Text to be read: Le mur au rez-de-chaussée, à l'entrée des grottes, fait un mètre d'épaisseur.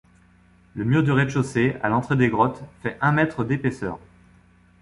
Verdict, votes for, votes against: rejected, 1, 2